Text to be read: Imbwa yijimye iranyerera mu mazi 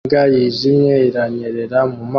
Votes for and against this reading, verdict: 0, 2, rejected